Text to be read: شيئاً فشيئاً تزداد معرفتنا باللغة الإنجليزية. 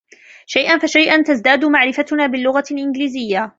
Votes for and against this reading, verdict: 2, 0, accepted